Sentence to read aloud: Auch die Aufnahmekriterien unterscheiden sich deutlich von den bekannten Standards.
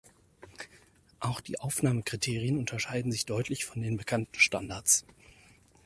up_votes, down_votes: 6, 0